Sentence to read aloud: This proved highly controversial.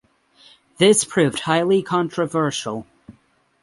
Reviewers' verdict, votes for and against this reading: accepted, 6, 0